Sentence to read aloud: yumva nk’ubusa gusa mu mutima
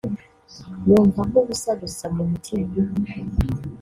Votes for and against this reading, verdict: 1, 2, rejected